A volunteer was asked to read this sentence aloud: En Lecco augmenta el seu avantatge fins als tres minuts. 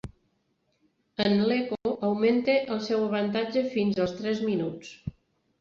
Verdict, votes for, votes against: rejected, 0, 2